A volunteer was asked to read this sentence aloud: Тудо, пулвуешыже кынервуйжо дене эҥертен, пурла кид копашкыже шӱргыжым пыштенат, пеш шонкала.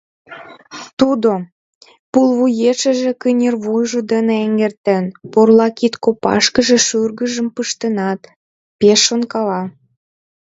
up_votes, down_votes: 2, 1